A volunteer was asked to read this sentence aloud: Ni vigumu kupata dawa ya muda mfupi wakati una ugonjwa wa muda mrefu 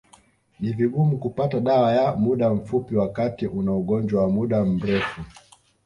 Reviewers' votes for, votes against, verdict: 2, 0, accepted